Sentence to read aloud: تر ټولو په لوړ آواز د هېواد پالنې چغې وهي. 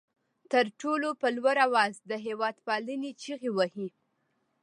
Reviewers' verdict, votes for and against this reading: accepted, 2, 0